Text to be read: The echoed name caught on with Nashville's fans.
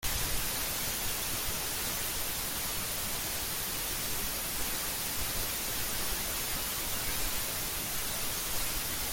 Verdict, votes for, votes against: rejected, 0, 3